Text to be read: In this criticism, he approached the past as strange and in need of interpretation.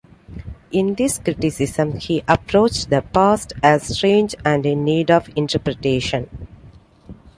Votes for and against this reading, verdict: 2, 0, accepted